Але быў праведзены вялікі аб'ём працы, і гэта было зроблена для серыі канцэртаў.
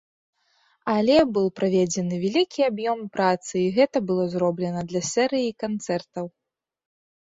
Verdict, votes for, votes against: rejected, 1, 2